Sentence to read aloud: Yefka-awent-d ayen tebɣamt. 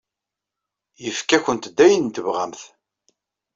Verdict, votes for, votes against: rejected, 1, 2